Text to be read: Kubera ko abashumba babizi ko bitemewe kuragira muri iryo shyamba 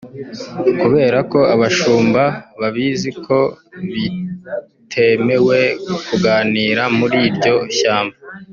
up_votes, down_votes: 1, 2